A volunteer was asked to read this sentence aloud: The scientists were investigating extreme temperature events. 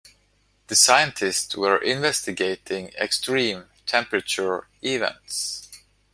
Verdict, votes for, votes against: accepted, 2, 0